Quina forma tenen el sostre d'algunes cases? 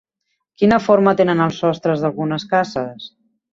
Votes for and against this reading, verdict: 1, 2, rejected